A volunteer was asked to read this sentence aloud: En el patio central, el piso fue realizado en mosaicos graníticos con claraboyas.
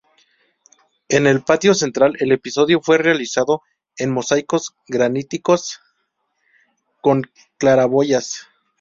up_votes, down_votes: 0, 2